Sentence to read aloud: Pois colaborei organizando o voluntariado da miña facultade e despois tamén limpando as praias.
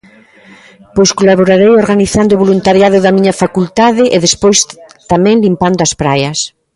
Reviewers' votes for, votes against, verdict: 0, 2, rejected